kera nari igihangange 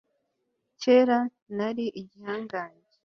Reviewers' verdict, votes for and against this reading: accepted, 2, 0